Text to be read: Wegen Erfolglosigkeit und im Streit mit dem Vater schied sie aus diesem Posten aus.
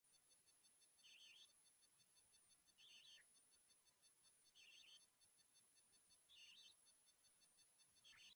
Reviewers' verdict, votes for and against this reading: rejected, 0, 2